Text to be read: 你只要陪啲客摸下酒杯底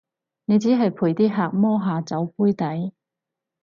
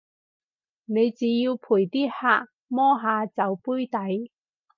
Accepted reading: second